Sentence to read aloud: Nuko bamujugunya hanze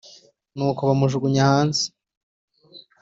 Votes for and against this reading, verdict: 3, 0, accepted